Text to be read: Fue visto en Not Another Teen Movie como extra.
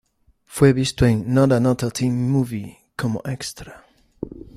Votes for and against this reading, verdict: 2, 0, accepted